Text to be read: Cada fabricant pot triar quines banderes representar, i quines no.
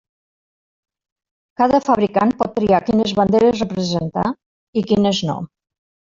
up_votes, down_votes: 0, 2